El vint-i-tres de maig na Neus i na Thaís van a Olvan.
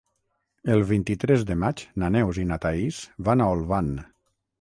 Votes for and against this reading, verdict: 6, 0, accepted